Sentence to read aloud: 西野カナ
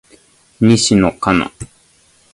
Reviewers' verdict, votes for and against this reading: accepted, 2, 0